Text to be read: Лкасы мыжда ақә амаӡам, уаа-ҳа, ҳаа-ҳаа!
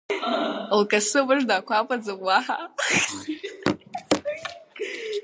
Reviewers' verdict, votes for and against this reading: rejected, 1, 2